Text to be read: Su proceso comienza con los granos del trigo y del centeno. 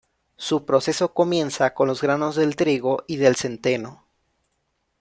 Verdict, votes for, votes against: accepted, 2, 0